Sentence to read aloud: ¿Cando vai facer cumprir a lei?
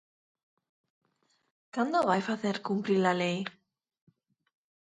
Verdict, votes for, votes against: rejected, 2, 4